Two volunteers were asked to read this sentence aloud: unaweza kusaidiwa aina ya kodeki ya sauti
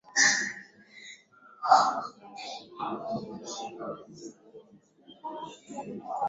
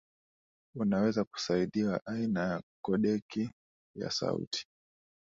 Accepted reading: second